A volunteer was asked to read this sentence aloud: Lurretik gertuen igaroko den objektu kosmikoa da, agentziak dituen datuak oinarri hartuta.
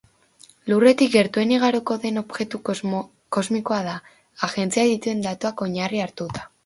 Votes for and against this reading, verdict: 0, 2, rejected